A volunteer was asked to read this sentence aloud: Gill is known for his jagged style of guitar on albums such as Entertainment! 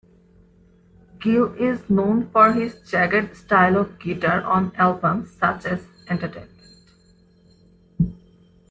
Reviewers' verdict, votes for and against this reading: rejected, 1, 2